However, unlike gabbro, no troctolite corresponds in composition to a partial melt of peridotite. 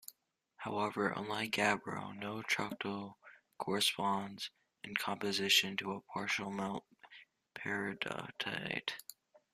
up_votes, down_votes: 2, 0